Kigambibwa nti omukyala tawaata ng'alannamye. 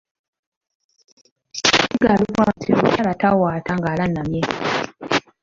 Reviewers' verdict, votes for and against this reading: rejected, 1, 2